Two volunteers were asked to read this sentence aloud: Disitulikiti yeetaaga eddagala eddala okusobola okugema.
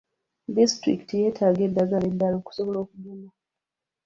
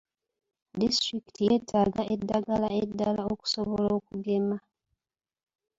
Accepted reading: second